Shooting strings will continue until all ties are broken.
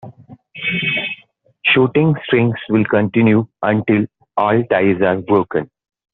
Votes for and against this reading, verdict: 1, 2, rejected